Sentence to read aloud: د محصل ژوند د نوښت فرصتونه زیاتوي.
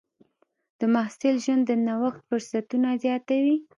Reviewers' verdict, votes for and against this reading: rejected, 1, 2